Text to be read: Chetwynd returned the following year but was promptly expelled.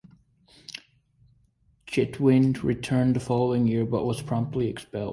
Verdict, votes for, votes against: accepted, 2, 0